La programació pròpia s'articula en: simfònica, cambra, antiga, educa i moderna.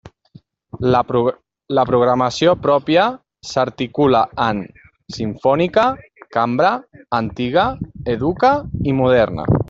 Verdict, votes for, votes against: rejected, 0, 2